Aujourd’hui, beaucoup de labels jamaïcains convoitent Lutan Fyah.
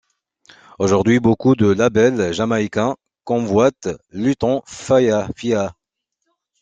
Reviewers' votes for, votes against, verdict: 0, 2, rejected